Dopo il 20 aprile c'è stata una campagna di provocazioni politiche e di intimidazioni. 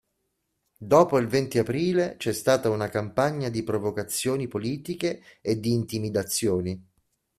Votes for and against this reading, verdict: 0, 2, rejected